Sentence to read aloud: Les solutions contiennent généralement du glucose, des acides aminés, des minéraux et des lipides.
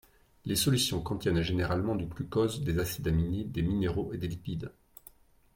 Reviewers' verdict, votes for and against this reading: accepted, 2, 0